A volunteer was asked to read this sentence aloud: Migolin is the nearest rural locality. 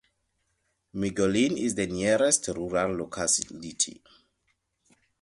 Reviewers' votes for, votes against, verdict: 0, 2, rejected